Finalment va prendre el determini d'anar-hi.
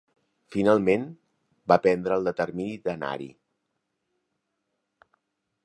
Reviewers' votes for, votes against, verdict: 2, 0, accepted